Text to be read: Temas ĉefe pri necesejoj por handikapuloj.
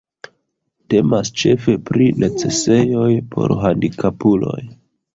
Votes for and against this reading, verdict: 2, 1, accepted